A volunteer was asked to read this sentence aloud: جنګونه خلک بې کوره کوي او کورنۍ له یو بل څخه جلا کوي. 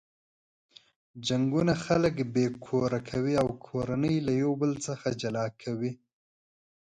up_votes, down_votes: 5, 0